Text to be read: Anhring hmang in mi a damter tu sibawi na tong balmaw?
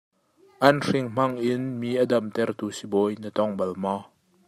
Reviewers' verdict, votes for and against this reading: accepted, 2, 0